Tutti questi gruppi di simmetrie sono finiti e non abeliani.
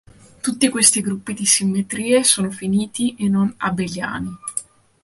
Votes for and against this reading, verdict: 2, 0, accepted